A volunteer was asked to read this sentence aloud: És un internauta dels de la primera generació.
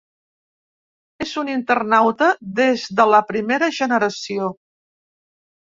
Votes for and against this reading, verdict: 1, 2, rejected